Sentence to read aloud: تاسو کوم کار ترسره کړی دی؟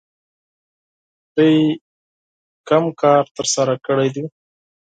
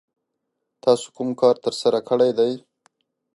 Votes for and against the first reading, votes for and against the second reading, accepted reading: 0, 4, 2, 0, second